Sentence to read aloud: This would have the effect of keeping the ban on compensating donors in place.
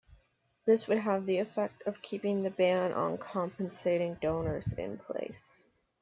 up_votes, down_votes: 2, 1